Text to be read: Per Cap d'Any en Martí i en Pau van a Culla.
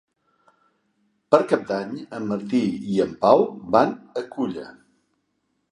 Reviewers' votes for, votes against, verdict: 5, 0, accepted